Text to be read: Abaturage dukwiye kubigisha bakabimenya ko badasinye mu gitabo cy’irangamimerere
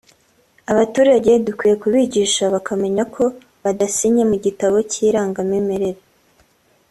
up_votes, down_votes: 1, 2